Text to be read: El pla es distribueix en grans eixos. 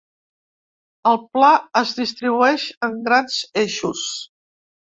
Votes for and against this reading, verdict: 2, 0, accepted